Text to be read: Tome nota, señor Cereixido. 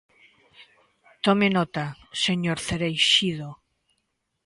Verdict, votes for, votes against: accepted, 2, 0